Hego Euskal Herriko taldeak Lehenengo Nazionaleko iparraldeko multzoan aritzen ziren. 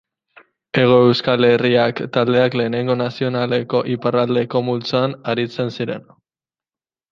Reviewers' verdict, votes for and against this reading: rejected, 0, 2